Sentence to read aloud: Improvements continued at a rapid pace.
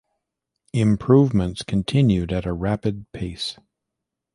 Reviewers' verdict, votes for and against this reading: accepted, 2, 0